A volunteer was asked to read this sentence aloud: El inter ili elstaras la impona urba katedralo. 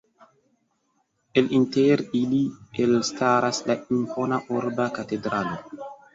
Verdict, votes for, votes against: accepted, 2, 0